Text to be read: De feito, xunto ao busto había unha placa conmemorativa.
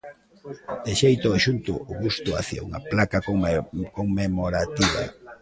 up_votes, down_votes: 0, 2